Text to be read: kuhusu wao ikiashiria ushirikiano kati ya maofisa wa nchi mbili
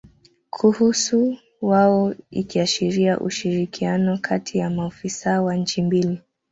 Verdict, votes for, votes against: accepted, 2, 1